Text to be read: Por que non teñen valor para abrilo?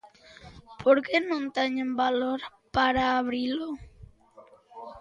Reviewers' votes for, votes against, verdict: 2, 0, accepted